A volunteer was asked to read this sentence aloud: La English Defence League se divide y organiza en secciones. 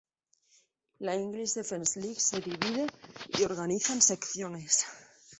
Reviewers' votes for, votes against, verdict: 2, 0, accepted